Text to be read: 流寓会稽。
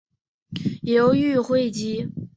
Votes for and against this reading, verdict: 2, 0, accepted